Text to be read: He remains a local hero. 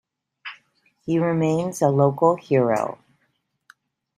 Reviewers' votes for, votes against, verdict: 2, 0, accepted